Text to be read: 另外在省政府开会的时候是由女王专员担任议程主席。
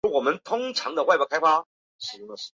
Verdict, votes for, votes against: rejected, 0, 4